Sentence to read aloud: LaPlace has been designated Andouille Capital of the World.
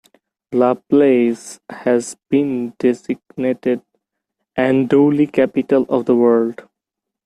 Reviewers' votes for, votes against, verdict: 2, 1, accepted